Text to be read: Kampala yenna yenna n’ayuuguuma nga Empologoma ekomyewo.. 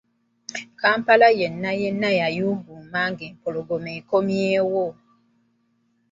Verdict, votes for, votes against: accepted, 2, 0